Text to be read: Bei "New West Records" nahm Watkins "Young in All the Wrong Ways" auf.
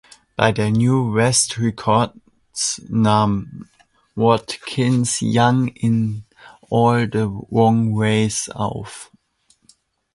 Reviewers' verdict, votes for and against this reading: accepted, 2, 1